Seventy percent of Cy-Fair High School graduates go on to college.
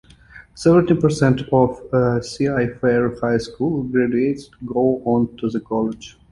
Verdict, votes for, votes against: rejected, 0, 2